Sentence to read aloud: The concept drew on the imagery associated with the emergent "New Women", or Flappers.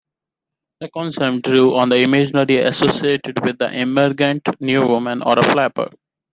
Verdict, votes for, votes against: rejected, 1, 2